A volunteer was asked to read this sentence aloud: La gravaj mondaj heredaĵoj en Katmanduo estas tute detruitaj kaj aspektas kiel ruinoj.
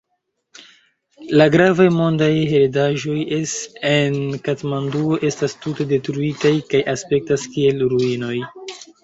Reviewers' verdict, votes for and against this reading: rejected, 0, 2